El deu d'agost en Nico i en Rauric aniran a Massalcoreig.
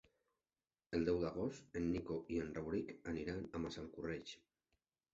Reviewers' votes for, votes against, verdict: 1, 2, rejected